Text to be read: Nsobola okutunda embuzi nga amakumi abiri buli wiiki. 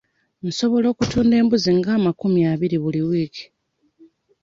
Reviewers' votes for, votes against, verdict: 2, 0, accepted